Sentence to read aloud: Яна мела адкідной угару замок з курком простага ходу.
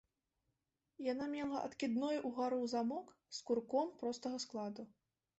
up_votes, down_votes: 0, 2